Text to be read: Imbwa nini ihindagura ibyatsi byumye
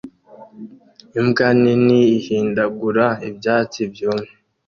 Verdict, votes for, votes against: accepted, 2, 0